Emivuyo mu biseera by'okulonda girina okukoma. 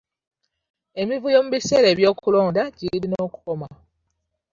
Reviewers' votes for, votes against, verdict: 2, 0, accepted